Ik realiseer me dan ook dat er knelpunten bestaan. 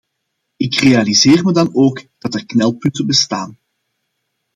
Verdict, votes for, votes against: accepted, 2, 0